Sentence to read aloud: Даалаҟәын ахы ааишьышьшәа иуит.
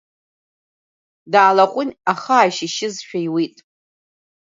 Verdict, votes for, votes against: rejected, 0, 2